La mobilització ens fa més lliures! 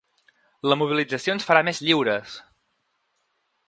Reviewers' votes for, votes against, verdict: 1, 2, rejected